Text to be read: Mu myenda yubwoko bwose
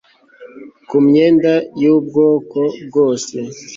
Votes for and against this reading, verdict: 1, 2, rejected